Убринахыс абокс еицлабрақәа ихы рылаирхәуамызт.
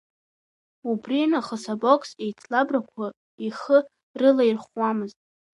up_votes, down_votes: 0, 2